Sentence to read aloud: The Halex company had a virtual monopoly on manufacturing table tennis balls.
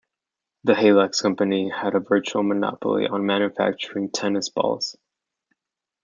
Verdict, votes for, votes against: rejected, 1, 2